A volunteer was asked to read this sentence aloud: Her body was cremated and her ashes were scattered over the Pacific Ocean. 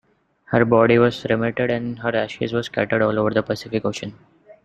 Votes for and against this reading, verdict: 2, 1, accepted